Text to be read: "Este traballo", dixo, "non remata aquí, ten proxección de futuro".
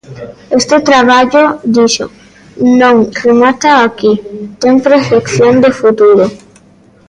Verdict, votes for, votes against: accepted, 2, 0